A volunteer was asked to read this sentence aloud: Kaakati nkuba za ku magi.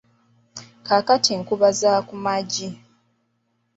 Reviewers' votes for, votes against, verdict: 1, 2, rejected